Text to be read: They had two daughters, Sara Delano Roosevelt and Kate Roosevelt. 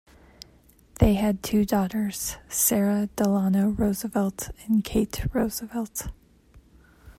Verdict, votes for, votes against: accepted, 2, 0